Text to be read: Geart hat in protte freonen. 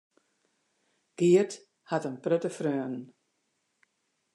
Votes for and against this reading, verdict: 2, 0, accepted